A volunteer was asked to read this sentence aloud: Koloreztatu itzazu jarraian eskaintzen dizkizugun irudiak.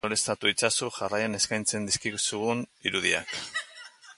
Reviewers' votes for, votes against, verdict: 2, 1, accepted